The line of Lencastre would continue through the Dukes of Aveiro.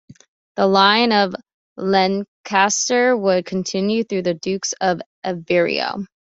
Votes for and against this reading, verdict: 2, 0, accepted